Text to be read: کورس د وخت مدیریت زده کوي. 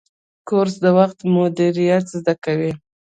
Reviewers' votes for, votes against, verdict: 2, 0, accepted